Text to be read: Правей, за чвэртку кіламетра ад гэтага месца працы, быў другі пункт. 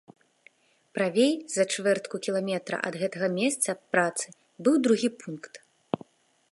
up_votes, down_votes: 2, 0